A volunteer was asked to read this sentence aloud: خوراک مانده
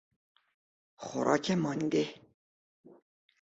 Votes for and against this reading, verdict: 2, 0, accepted